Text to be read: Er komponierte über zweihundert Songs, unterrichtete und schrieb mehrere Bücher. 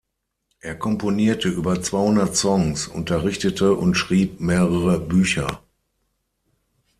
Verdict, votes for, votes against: accepted, 6, 0